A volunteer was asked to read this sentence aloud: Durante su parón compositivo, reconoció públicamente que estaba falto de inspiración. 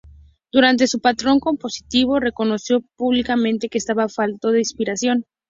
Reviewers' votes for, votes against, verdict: 0, 2, rejected